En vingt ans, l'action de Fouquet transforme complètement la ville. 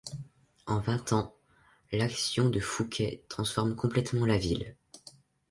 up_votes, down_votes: 2, 0